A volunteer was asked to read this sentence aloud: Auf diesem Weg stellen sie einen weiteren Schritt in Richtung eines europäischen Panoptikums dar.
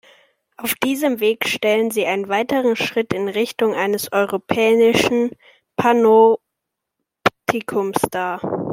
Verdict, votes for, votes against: rejected, 0, 2